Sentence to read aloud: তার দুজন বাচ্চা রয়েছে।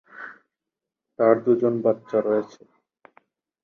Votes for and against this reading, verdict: 4, 0, accepted